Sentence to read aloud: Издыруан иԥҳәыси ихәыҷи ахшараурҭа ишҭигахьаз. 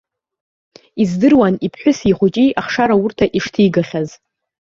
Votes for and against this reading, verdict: 2, 0, accepted